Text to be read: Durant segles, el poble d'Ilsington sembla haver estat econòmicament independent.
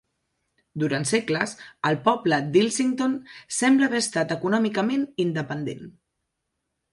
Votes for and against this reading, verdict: 3, 0, accepted